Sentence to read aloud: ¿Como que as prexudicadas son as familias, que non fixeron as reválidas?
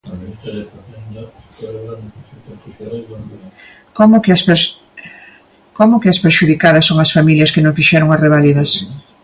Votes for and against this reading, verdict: 1, 2, rejected